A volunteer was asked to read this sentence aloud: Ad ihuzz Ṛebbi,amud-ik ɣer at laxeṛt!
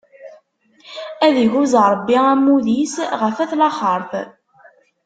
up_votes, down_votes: 1, 2